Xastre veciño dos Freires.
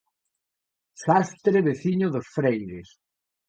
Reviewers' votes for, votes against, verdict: 2, 0, accepted